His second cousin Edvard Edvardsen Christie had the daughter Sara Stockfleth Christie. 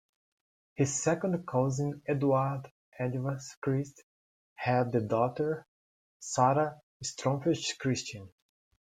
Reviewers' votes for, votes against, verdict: 1, 2, rejected